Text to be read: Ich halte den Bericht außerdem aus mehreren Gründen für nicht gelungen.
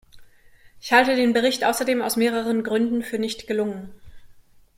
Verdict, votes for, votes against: accepted, 2, 0